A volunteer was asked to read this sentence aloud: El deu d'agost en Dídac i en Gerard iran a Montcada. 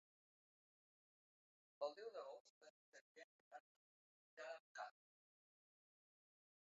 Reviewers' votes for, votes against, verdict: 0, 2, rejected